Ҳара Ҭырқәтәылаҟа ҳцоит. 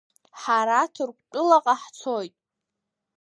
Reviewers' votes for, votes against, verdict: 2, 0, accepted